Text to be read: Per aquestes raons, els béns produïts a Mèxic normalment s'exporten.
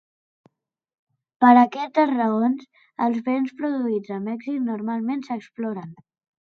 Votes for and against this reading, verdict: 1, 2, rejected